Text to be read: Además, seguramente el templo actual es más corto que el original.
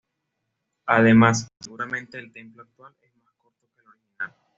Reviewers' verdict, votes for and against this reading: rejected, 1, 2